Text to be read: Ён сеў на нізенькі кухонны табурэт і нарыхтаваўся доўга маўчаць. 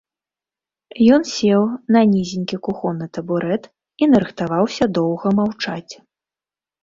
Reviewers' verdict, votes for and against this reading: accepted, 2, 0